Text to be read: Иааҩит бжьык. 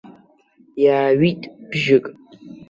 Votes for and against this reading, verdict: 1, 2, rejected